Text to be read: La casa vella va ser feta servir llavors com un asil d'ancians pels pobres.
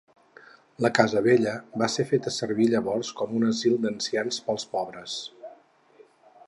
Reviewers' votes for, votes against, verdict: 4, 0, accepted